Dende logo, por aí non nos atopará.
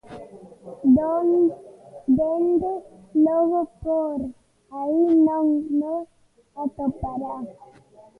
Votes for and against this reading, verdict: 0, 2, rejected